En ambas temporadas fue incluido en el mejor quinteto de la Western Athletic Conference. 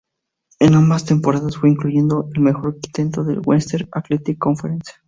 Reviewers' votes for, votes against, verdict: 0, 2, rejected